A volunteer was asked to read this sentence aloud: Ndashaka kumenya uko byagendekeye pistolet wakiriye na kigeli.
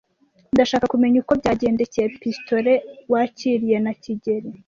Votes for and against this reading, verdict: 2, 0, accepted